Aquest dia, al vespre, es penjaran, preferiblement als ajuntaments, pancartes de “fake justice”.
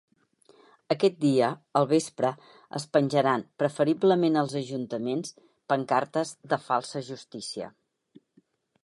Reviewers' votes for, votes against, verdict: 0, 2, rejected